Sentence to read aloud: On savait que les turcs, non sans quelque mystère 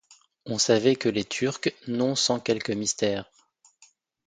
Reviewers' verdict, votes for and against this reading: accepted, 2, 0